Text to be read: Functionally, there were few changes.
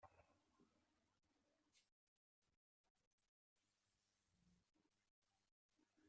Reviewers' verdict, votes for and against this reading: rejected, 0, 2